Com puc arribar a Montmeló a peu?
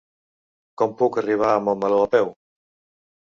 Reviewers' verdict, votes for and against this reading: accepted, 2, 0